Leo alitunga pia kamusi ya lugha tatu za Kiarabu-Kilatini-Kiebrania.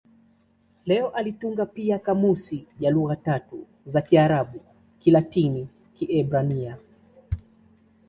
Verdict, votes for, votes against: accepted, 2, 0